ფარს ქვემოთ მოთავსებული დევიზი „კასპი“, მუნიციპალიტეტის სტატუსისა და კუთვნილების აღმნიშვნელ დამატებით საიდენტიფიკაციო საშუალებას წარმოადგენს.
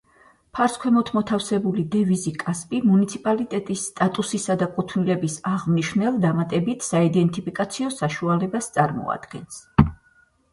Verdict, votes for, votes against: accepted, 4, 0